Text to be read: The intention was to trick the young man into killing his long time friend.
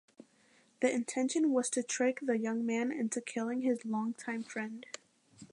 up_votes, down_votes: 2, 0